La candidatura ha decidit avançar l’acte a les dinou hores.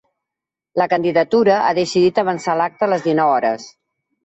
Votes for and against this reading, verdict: 3, 1, accepted